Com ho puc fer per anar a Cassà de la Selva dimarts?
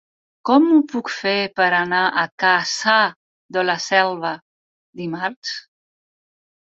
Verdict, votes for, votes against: rejected, 0, 4